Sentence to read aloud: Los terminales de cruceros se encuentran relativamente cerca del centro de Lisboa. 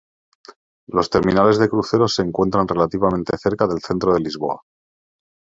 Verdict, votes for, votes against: accepted, 2, 1